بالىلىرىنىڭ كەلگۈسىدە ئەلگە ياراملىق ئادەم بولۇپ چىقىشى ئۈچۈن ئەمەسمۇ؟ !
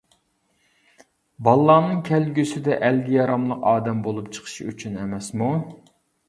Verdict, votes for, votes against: rejected, 0, 2